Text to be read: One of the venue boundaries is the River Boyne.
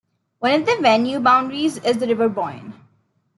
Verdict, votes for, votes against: rejected, 1, 2